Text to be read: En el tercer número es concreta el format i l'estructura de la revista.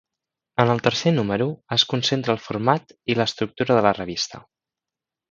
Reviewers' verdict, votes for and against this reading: rejected, 1, 2